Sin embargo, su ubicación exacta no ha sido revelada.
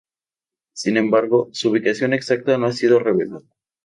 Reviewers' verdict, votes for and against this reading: accepted, 2, 0